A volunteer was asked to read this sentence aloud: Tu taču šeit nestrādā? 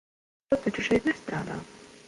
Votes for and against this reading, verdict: 1, 2, rejected